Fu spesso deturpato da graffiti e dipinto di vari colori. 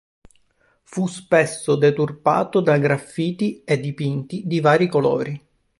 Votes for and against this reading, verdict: 1, 2, rejected